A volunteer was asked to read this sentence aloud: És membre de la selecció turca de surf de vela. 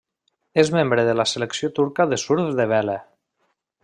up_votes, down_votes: 2, 0